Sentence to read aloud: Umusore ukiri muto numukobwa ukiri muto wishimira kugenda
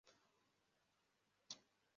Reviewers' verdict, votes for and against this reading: rejected, 0, 2